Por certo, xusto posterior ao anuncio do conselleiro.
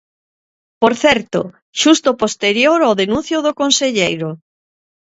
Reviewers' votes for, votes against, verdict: 0, 2, rejected